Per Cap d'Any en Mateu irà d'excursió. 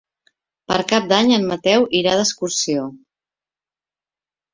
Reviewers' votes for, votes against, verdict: 3, 0, accepted